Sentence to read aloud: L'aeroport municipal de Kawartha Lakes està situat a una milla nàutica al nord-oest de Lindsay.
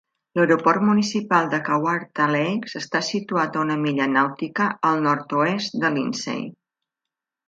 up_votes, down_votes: 3, 0